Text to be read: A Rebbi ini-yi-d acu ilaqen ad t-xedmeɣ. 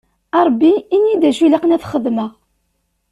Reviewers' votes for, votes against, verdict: 2, 0, accepted